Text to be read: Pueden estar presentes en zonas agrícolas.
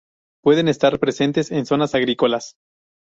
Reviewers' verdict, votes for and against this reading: rejected, 0, 2